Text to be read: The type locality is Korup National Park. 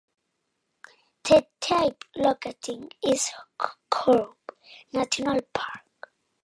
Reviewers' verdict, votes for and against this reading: rejected, 0, 2